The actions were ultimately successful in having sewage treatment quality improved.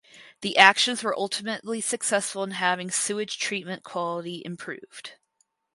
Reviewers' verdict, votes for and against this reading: accepted, 4, 0